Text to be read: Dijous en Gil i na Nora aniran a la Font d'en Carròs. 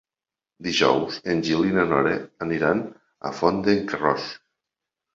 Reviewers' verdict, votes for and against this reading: rejected, 1, 2